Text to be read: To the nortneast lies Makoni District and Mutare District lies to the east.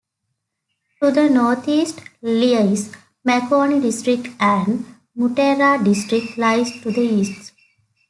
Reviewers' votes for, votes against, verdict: 0, 2, rejected